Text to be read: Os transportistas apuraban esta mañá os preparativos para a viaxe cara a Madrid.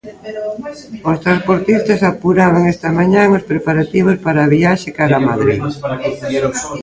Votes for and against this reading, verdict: 0, 2, rejected